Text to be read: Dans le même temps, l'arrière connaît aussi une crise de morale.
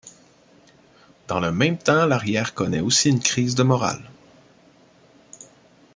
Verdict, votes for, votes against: accepted, 2, 0